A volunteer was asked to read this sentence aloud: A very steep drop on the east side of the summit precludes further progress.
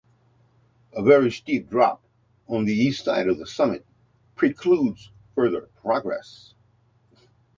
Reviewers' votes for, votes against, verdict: 2, 0, accepted